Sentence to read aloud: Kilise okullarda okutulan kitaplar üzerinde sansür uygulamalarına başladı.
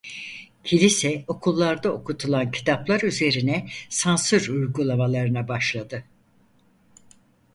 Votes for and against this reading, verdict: 2, 4, rejected